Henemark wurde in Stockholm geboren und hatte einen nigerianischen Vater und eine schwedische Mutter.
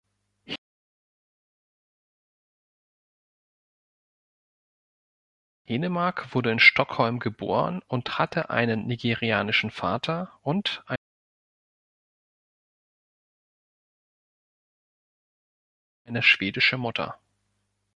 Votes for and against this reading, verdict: 2, 3, rejected